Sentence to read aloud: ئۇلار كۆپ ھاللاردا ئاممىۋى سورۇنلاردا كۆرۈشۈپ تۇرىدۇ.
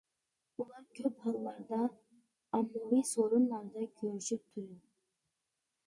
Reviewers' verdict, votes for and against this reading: rejected, 1, 2